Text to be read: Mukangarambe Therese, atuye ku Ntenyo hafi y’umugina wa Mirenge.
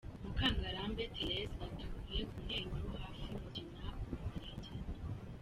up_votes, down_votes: 0, 2